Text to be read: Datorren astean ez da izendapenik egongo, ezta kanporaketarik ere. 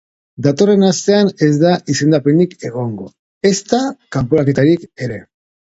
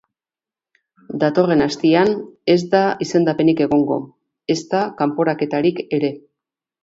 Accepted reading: first